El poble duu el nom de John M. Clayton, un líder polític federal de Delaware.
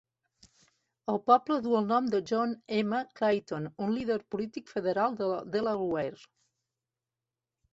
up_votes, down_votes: 0, 2